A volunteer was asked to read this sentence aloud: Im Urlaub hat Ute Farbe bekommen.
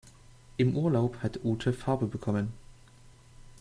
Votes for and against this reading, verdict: 2, 0, accepted